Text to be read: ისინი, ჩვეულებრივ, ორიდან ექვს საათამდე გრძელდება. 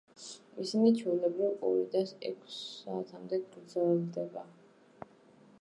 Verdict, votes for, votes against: accepted, 2, 0